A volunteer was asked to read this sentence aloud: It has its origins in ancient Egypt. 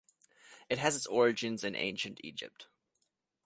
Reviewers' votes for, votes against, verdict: 3, 0, accepted